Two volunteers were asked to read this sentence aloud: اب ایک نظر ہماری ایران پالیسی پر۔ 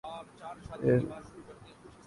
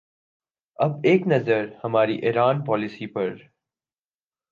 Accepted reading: second